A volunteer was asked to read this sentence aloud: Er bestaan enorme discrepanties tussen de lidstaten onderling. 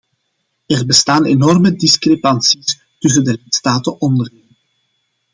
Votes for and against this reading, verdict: 0, 2, rejected